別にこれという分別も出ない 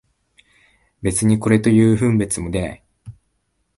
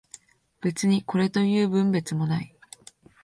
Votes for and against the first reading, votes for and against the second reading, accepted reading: 2, 1, 0, 2, first